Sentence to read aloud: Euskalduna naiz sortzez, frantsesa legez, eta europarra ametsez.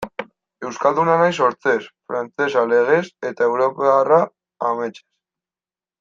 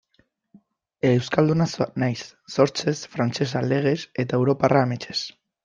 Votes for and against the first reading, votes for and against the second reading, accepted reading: 2, 1, 0, 2, first